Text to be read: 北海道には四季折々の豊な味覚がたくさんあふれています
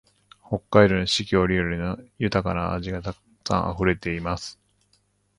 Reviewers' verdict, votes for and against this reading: rejected, 0, 3